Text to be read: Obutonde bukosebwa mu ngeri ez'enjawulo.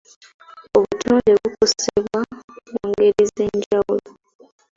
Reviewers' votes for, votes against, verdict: 0, 2, rejected